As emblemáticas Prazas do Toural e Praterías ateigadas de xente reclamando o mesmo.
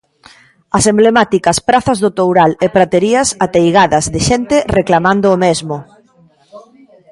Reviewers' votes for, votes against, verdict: 1, 2, rejected